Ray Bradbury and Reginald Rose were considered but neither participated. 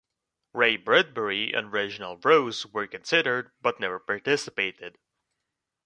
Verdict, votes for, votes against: rejected, 1, 2